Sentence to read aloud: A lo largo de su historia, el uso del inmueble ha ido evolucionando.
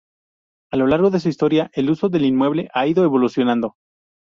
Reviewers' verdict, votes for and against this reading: accepted, 2, 0